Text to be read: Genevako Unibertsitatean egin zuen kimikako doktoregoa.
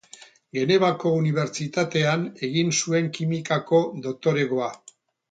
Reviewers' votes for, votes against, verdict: 2, 2, rejected